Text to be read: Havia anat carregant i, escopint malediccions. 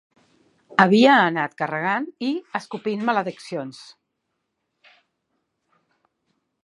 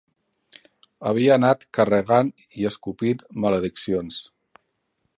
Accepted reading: first